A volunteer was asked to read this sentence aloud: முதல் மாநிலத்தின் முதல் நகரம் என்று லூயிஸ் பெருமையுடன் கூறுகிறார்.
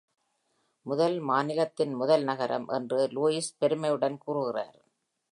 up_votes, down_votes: 2, 0